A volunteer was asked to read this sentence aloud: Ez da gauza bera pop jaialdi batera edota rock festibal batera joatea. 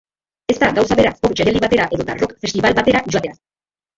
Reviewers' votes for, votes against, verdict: 0, 5, rejected